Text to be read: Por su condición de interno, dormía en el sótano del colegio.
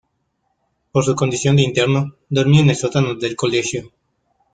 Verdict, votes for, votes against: rejected, 1, 2